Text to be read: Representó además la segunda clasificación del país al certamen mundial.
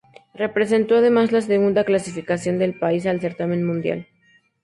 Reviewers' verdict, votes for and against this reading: accepted, 6, 0